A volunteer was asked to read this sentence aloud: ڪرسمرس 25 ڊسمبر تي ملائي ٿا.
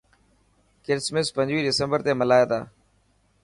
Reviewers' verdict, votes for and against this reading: rejected, 0, 2